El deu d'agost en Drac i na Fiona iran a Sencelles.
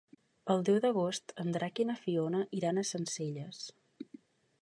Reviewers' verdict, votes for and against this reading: accepted, 3, 0